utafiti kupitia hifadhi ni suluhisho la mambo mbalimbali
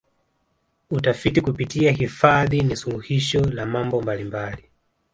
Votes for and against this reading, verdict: 2, 0, accepted